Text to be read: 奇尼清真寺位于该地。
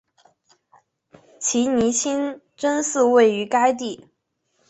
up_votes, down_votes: 4, 0